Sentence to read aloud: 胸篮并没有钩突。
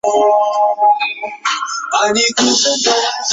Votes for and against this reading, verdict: 0, 3, rejected